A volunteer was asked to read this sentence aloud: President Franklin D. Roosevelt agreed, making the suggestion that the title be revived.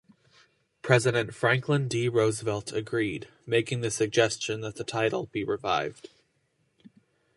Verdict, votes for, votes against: accepted, 2, 0